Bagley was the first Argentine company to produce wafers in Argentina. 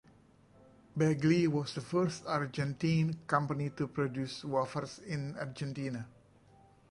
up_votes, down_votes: 1, 2